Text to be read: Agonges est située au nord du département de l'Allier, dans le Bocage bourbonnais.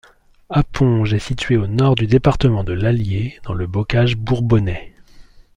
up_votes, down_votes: 0, 2